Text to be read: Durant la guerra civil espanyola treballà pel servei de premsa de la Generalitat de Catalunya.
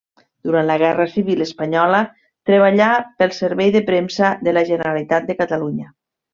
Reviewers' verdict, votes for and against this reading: accepted, 3, 0